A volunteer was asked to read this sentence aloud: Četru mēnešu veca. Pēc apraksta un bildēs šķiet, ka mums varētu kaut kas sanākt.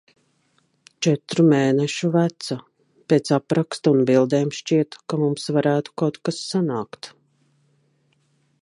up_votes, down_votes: 0, 2